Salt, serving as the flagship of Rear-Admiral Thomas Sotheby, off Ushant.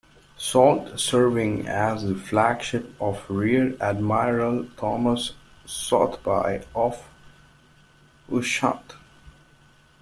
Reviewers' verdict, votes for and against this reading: rejected, 0, 2